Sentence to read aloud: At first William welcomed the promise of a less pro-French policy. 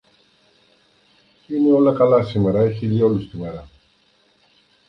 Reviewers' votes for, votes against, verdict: 0, 2, rejected